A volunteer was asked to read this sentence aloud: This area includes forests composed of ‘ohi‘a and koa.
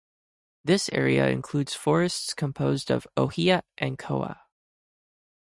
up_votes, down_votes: 0, 2